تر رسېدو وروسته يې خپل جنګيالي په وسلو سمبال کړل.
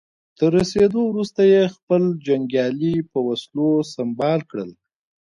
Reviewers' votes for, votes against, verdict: 2, 0, accepted